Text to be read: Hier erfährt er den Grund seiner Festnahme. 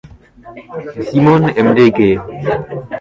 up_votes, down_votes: 0, 2